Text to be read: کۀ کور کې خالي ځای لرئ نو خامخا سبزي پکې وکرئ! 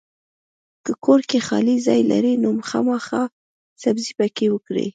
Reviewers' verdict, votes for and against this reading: accepted, 2, 0